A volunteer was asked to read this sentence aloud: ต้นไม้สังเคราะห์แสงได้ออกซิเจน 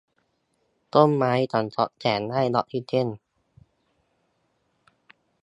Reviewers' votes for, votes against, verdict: 0, 2, rejected